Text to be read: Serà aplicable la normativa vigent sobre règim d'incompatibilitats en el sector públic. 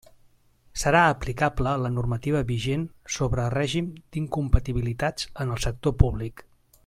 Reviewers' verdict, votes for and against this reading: accepted, 3, 0